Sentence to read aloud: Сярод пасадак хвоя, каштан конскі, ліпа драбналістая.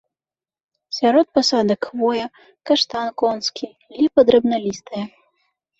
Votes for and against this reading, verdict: 2, 0, accepted